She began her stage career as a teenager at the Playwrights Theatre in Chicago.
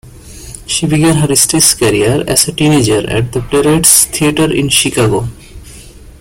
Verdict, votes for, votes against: accepted, 2, 1